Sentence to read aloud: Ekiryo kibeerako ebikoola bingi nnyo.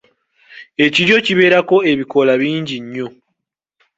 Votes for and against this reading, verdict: 1, 2, rejected